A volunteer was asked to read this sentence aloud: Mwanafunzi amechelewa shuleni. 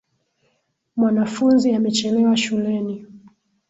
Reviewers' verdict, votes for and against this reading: accepted, 5, 0